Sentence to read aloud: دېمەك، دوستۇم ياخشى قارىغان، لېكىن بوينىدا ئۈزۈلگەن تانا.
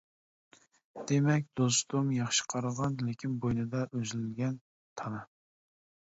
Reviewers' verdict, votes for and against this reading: accepted, 2, 0